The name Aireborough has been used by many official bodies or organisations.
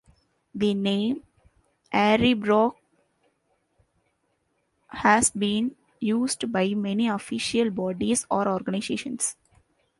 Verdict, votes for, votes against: accepted, 2, 1